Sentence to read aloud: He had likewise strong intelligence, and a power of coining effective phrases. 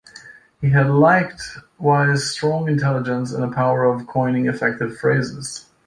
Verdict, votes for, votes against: rejected, 0, 2